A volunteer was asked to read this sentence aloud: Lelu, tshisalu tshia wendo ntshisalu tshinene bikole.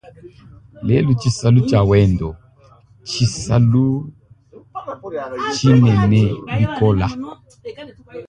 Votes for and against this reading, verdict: 2, 3, rejected